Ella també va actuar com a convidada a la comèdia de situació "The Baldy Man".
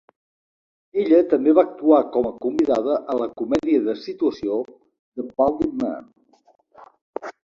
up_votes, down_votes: 3, 0